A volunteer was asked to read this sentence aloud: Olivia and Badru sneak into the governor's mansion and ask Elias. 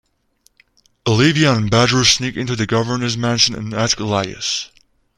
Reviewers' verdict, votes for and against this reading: accepted, 2, 0